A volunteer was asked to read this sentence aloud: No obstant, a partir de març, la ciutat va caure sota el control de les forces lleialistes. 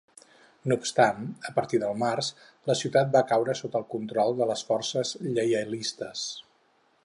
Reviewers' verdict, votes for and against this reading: accepted, 4, 2